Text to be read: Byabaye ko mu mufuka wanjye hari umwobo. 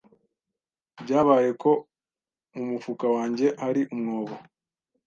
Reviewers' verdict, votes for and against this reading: accepted, 2, 0